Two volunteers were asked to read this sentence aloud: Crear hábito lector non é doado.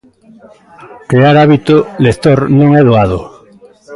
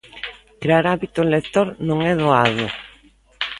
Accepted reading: second